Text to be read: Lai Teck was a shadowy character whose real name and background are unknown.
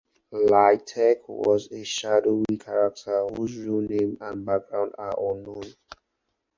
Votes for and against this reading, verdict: 0, 2, rejected